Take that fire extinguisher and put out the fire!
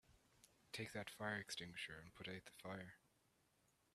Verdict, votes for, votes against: rejected, 1, 2